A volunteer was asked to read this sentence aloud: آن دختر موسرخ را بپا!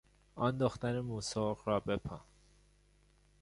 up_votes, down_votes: 2, 0